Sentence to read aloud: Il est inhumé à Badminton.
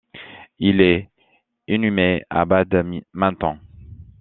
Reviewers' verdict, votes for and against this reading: rejected, 0, 2